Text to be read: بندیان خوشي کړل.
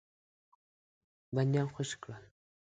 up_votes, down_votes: 2, 0